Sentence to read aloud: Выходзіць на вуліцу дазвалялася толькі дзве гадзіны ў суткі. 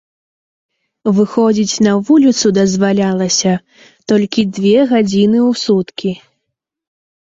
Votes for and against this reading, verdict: 1, 2, rejected